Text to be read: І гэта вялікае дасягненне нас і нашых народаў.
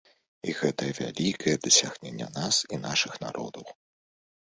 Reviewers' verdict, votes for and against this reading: accepted, 2, 0